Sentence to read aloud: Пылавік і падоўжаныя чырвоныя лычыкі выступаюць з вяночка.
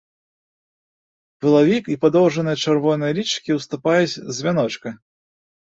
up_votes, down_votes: 1, 2